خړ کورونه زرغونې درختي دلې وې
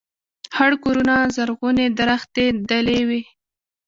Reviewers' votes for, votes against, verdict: 2, 0, accepted